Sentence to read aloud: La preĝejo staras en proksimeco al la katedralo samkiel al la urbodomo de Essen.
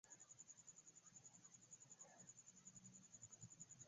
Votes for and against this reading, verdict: 1, 2, rejected